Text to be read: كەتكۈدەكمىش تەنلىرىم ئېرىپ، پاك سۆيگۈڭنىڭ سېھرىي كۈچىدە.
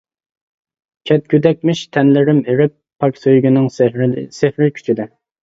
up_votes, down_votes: 0, 2